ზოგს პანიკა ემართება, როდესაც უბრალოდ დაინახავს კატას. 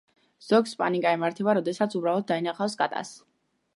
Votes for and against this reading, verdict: 2, 0, accepted